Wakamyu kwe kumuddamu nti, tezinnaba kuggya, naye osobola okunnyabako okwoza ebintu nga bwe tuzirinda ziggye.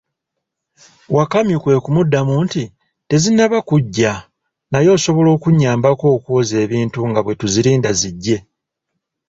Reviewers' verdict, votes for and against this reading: accepted, 2, 0